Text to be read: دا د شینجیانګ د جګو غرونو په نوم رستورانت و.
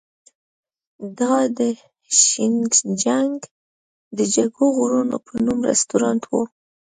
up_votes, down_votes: 0, 2